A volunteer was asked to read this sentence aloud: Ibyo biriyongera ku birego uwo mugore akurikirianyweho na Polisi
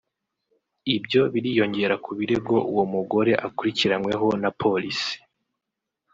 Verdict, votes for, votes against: accepted, 2, 0